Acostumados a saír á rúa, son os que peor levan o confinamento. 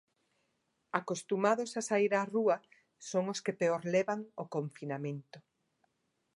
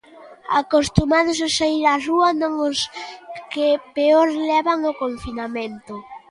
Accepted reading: first